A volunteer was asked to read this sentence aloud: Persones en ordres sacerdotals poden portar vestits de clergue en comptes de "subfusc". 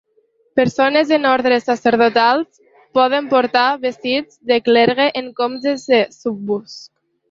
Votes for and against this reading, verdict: 0, 2, rejected